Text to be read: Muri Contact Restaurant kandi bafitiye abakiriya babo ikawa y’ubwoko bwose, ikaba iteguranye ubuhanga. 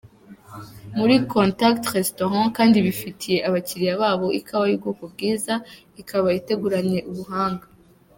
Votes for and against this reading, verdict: 1, 3, rejected